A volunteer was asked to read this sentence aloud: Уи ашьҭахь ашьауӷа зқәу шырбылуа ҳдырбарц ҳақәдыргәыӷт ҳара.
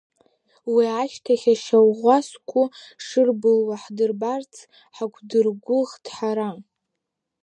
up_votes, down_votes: 0, 3